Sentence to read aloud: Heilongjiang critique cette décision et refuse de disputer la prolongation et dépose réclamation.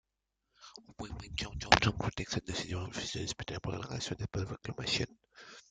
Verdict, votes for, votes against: rejected, 0, 2